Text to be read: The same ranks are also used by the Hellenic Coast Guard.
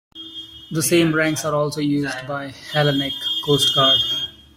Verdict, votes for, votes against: accepted, 2, 0